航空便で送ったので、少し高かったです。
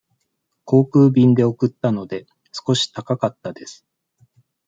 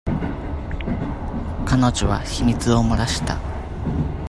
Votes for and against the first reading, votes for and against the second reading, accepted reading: 2, 0, 0, 2, first